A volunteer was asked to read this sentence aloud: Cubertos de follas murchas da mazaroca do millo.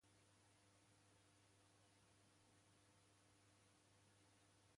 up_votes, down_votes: 0, 3